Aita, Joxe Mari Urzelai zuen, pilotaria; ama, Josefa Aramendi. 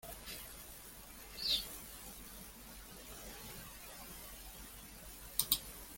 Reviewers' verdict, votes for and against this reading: rejected, 0, 2